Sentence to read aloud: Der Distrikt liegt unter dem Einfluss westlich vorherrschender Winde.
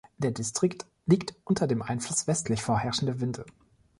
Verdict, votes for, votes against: accepted, 2, 0